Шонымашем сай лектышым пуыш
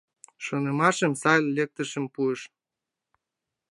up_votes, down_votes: 4, 5